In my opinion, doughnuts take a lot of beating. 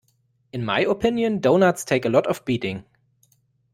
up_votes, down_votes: 2, 0